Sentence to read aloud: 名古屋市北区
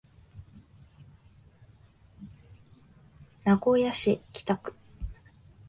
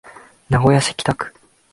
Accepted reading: second